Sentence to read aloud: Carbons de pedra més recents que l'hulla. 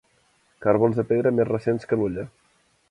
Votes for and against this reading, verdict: 2, 0, accepted